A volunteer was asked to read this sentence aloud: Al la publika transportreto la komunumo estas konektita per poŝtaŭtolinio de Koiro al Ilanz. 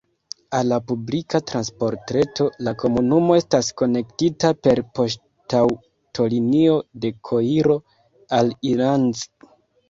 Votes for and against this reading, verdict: 0, 2, rejected